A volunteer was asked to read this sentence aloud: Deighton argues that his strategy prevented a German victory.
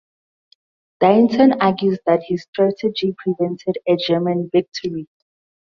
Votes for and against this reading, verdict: 4, 0, accepted